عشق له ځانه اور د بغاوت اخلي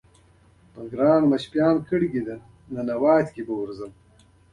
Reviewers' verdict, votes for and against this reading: rejected, 1, 2